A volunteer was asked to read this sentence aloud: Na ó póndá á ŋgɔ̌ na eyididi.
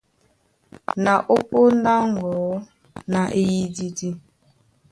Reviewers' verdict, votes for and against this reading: accepted, 2, 0